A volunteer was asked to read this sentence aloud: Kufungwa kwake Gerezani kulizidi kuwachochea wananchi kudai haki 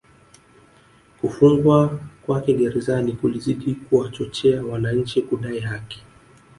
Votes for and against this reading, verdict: 2, 0, accepted